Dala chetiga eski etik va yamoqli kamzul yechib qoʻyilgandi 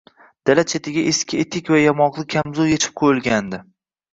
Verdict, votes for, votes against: accepted, 2, 0